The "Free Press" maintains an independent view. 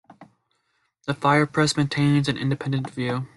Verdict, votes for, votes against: rejected, 0, 2